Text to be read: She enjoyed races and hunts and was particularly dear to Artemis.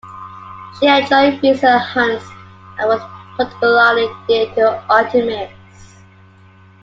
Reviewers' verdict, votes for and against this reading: rejected, 0, 2